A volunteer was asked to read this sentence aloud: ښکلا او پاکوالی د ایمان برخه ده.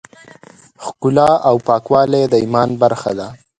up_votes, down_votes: 2, 0